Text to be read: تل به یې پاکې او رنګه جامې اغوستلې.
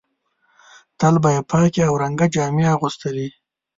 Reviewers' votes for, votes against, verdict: 2, 0, accepted